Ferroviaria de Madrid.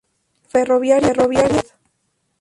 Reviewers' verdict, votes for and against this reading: rejected, 0, 2